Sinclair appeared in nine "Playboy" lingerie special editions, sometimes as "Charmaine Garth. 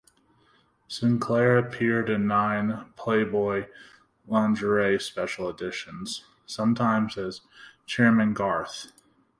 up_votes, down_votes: 2, 0